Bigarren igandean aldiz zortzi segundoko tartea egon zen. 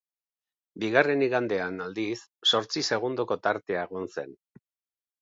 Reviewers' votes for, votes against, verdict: 3, 2, accepted